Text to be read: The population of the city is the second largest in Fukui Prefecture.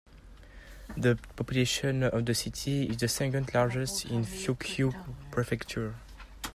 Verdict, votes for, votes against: accepted, 2, 1